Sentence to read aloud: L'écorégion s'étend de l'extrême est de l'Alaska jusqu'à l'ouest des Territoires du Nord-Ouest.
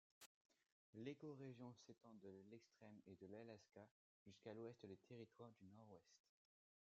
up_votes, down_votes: 0, 2